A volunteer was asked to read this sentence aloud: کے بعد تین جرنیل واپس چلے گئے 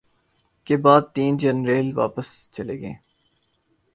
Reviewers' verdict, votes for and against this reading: accepted, 2, 0